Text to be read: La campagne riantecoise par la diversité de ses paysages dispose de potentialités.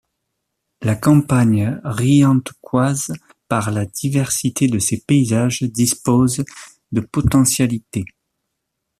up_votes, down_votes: 2, 0